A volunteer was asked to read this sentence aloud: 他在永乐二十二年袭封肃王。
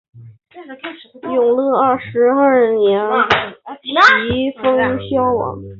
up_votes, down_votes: 0, 2